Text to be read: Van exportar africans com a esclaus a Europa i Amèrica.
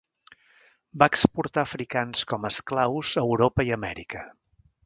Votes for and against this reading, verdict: 0, 2, rejected